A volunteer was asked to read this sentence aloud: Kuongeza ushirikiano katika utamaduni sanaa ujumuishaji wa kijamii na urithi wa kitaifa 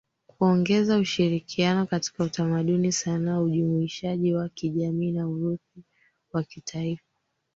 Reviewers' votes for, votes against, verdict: 2, 3, rejected